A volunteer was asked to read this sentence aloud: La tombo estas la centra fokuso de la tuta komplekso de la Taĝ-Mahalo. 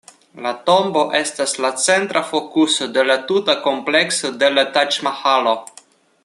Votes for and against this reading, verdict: 2, 0, accepted